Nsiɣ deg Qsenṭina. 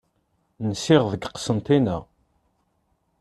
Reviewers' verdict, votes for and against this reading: accepted, 2, 0